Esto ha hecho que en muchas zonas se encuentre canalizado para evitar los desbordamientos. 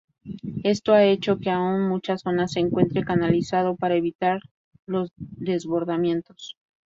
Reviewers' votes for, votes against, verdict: 0, 2, rejected